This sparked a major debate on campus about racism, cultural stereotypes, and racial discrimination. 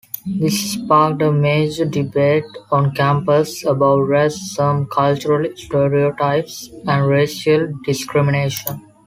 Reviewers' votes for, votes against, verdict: 2, 0, accepted